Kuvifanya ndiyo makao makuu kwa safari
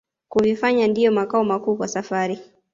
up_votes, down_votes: 2, 1